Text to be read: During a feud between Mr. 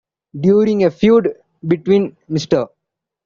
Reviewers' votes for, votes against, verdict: 2, 1, accepted